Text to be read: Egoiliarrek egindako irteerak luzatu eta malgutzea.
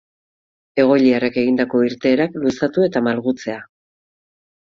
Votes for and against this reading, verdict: 2, 2, rejected